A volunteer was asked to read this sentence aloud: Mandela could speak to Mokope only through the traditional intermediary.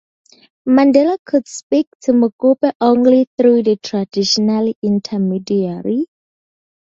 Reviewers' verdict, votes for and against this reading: accepted, 2, 0